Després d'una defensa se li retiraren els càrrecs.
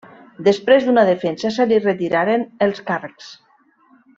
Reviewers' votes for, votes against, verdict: 3, 0, accepted